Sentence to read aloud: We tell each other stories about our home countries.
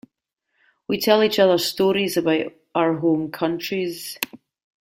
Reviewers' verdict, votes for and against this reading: accepted, 2, 0